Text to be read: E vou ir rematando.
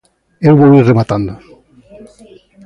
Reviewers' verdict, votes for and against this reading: accepted, 3, 0